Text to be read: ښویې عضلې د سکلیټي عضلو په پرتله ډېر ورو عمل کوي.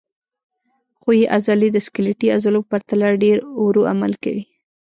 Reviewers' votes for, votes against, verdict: 1, 2, rejected